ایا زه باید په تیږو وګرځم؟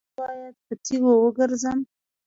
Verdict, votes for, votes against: accepted, 2, 1